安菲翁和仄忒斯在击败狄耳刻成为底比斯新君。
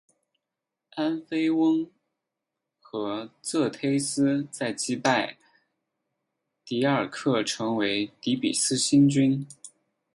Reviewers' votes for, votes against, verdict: 2, 4, rejected